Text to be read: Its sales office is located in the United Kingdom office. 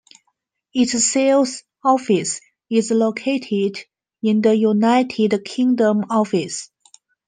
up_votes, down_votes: 2, 1